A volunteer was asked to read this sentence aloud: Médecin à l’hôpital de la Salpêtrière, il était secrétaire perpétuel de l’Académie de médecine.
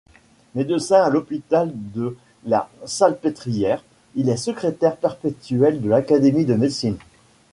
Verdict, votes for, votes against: rejected, 1, 2